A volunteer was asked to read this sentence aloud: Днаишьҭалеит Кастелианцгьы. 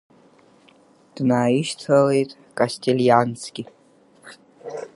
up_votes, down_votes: 2, 4